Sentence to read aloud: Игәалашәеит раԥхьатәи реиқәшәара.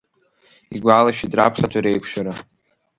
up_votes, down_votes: 2, 0